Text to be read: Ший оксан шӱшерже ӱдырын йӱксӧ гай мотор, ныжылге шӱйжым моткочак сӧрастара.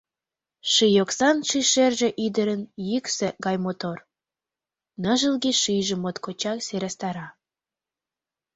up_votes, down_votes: 2, 0